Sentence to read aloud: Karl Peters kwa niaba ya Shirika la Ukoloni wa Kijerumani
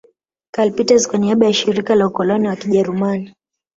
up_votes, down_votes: 0, 2